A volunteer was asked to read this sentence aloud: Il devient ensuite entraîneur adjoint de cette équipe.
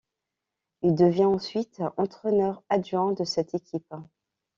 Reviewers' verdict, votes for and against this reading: accepted, 2, 0